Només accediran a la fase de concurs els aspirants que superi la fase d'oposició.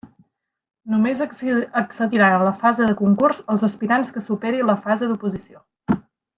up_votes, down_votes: 0, 4